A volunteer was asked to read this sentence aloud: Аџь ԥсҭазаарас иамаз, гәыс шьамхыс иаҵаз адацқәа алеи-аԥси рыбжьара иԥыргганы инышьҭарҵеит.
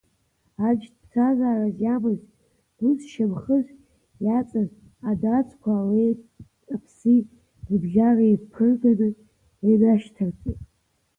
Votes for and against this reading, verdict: 2, 0, accepted